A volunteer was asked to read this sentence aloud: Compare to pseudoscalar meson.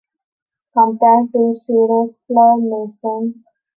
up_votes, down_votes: 0, 2